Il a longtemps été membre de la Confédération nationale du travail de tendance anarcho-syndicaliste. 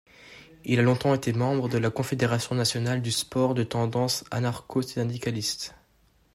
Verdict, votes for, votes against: rejected, 0, 2